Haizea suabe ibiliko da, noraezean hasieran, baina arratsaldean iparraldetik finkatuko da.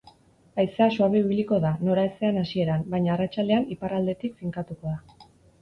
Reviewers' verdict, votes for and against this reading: accepted, 2, 0